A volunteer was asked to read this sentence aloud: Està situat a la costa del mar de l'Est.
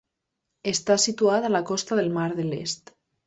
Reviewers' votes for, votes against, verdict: 2, 0, accepted